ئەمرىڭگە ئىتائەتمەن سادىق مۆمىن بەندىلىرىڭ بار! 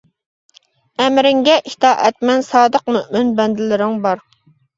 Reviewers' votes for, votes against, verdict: 2, 1, accepted